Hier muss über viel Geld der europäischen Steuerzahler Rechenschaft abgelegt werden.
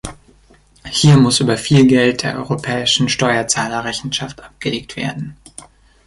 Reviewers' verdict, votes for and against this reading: accepted, 3, 0